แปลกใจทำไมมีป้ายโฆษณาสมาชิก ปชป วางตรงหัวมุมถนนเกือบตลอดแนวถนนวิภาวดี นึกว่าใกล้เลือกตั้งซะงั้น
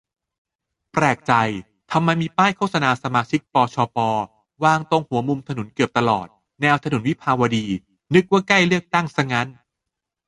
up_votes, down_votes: 2, 2